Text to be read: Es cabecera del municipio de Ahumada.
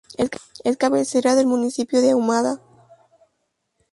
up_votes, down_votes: 0, 2